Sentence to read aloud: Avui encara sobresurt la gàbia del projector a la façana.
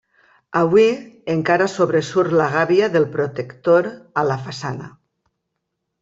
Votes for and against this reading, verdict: 0, 2, rejected